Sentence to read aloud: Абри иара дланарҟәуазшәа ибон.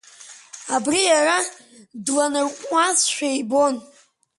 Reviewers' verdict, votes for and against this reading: accepted, 2, 1